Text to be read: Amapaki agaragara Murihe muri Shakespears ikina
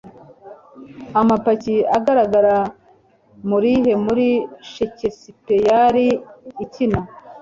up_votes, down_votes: 2, 1